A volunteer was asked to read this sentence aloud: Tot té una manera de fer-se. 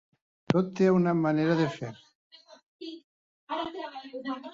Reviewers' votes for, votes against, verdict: 0, 3, rejected